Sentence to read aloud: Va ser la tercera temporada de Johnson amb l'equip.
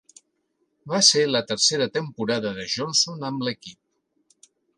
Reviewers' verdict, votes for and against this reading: accepted, 3, 1